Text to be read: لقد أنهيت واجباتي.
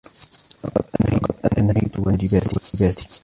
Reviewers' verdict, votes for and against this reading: rejected, 1, 2